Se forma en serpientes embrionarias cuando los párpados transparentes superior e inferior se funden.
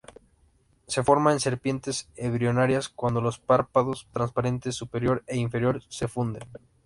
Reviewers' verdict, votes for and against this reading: rejected, 0, 2